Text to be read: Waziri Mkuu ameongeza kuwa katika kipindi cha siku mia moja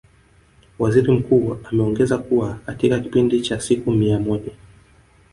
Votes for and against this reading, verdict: 1, 2, rejected